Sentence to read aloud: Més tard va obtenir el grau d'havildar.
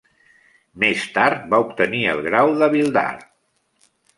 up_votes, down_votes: 2, 0